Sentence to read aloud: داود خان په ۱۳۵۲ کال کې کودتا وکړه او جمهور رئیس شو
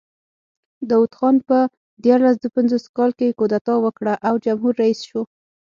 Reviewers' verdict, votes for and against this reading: rejected, 0, 2